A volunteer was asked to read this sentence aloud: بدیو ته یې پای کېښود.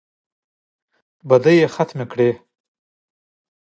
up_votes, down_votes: 1, 2